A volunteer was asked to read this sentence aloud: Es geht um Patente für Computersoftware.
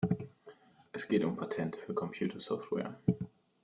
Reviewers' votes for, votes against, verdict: 2, 0, accepted